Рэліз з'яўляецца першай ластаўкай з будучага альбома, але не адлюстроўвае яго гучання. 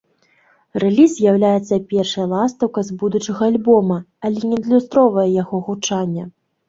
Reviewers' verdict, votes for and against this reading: rejected, 1, 2